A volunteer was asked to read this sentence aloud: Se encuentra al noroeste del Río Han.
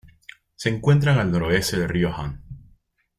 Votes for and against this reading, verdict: 0, 2, rejected